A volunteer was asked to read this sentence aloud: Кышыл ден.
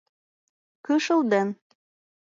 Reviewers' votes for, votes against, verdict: 2, 1, accepted